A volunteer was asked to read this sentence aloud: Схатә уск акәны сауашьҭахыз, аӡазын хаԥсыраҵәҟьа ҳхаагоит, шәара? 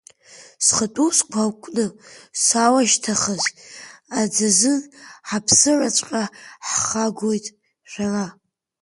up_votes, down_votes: 1, 2